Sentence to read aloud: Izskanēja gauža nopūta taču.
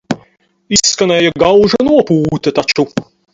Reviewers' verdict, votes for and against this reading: rejected, 0, 6